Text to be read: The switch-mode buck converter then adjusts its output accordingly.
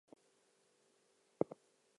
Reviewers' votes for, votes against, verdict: 0, 2, rejected